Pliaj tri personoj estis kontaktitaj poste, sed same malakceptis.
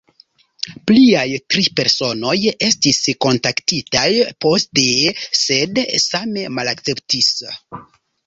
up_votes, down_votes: 2, 1